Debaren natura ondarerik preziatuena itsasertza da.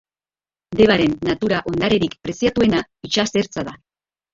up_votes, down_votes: 2, 2